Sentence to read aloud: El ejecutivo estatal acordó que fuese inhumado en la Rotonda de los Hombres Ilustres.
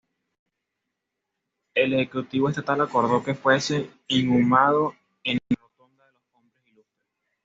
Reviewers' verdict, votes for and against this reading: rejected, 1, 2